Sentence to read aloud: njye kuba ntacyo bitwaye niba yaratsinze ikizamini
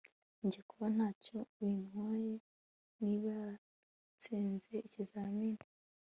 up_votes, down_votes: 1, 2